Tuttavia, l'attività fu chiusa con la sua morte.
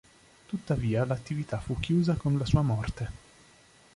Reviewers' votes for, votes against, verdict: 2, 0, accepted